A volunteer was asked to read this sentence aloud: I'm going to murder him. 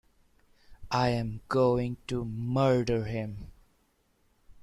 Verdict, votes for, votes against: accepted, 2, 1